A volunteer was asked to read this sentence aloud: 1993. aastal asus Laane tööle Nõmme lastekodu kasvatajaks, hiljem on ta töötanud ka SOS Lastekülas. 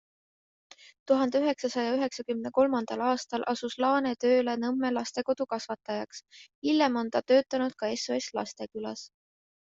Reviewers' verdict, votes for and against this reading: rejected, 0, 2